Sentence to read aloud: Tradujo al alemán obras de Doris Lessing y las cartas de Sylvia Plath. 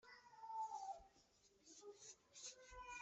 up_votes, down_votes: 1, 2